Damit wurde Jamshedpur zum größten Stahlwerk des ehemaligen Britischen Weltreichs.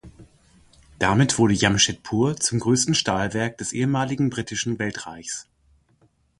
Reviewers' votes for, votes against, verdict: 2, 0, accepted